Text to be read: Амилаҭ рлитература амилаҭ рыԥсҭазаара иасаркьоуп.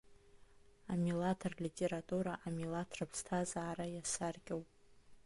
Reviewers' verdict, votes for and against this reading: accepted, 2, 0